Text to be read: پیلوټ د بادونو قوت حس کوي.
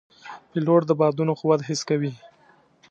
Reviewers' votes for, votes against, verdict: 2, 0, accepted